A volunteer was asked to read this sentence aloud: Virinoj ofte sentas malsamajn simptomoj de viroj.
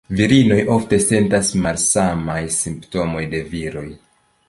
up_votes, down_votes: 2, 0